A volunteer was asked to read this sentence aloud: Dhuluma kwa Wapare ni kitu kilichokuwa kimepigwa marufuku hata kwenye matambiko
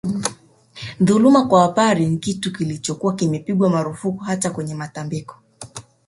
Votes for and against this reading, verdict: 3, 0, accepted